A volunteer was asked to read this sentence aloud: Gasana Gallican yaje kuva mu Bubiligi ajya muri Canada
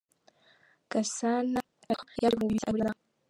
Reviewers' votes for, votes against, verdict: 0, 2, rejected